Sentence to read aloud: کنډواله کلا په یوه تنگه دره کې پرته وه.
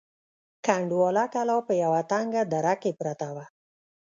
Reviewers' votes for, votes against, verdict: 1, 2, rejected